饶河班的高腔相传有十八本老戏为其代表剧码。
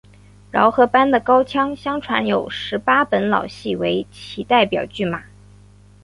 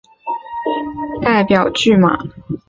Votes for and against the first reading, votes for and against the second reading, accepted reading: 2, 0, 0, 2, first